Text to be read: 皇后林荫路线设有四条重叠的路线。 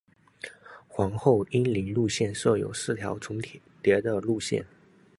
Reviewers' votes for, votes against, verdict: 1, 2, rejected